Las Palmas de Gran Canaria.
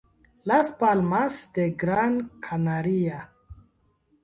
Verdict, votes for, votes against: rejected, 0, 2